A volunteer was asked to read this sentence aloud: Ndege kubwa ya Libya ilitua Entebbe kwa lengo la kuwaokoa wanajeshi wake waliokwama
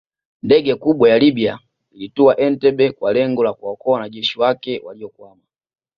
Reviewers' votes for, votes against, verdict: 1, 2, rejected